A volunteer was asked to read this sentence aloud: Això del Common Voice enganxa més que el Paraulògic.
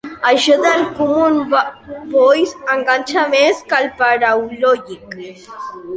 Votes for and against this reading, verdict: 1, 2, rejected